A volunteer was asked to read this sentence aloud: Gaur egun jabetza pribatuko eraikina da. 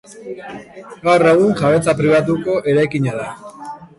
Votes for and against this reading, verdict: 1, 2, rejected